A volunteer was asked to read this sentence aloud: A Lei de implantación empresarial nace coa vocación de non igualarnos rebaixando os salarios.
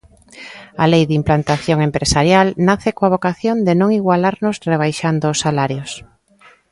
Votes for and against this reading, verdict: 2, 0, accepted